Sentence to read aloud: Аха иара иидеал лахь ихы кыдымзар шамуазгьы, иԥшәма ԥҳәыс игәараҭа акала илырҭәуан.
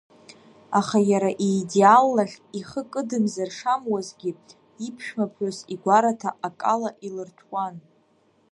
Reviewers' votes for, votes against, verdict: 0, 2, rejected